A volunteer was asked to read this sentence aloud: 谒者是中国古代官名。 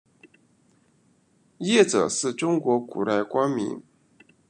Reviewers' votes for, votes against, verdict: 2, 0, accepted